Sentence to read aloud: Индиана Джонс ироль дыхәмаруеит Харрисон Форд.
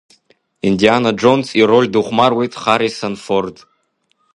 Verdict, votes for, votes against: accepted, 2, 0